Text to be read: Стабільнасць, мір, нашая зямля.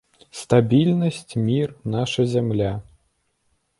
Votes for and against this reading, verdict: 0, 2, rejected